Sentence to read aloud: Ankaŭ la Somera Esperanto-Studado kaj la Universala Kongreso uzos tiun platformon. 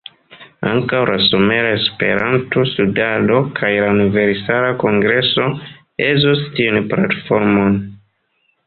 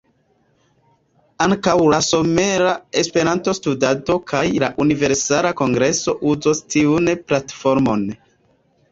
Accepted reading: second